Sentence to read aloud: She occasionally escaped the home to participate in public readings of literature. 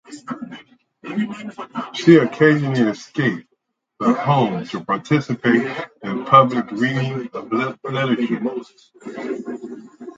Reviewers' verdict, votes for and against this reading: rejected, 0, 2